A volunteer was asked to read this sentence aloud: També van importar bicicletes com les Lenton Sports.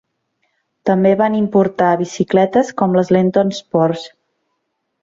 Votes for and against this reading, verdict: 2, 0, accepted